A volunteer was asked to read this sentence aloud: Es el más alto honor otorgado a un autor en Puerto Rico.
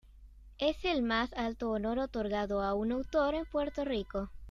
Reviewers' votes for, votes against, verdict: 2, 0, accepted